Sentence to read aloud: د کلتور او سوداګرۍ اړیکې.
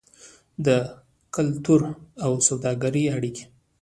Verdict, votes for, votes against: rejected, 1, 2